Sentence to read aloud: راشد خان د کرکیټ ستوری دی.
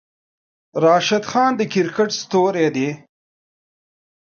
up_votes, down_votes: 1, 2